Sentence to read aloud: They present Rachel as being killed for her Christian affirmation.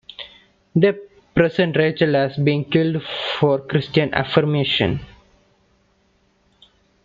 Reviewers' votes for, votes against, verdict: 1, 2, rejected